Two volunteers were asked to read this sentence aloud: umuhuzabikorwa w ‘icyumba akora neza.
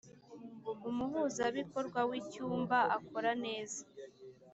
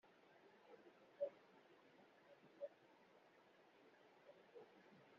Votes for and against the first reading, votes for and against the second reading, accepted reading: 2, 0, 0, 2, first